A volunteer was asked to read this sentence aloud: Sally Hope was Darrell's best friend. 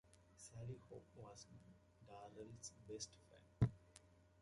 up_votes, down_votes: 2, 1